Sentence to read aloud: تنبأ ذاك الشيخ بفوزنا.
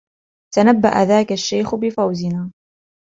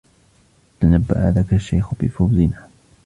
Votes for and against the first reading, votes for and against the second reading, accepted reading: 2, 0, 1, 2, first